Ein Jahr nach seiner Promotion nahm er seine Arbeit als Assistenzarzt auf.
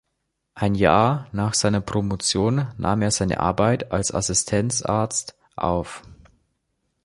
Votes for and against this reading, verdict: 2, 0, accepted